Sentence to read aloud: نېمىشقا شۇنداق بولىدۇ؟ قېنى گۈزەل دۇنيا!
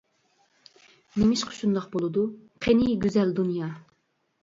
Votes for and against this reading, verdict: 2, 0, accepted